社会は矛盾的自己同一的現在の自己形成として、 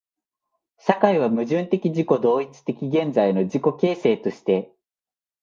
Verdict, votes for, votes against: accepted, 2, 0